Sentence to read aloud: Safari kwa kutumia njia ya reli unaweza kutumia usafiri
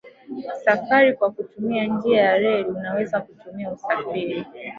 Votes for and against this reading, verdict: 2, 3, rejected